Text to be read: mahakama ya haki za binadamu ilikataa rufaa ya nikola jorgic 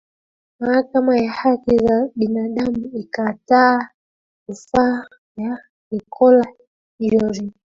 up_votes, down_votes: 0, 2